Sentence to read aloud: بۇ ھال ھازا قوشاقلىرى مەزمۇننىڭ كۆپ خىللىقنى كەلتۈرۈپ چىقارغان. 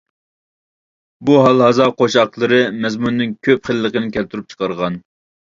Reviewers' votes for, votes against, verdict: 1, 2, rejected